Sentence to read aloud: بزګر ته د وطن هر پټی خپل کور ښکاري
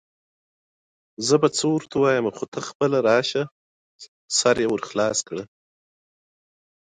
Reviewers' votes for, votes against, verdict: 0, 2, rejected